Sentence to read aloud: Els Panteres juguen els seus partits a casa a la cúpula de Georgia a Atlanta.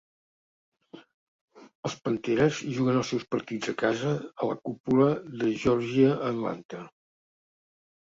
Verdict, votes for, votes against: accepted, 2, 0